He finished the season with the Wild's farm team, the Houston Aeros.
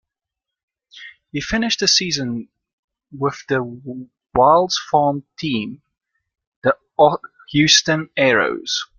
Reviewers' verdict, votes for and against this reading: rejected, 1, 2